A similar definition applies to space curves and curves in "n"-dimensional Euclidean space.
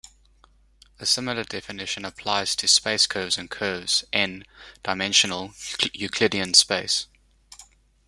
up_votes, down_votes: 1, 2